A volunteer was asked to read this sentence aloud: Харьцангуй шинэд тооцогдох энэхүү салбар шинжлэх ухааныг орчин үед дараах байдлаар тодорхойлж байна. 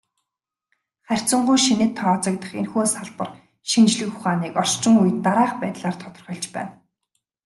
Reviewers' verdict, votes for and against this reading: rejected, 1, 2